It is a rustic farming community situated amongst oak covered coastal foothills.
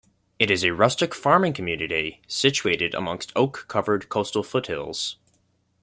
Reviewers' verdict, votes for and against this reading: accepted, 2, 0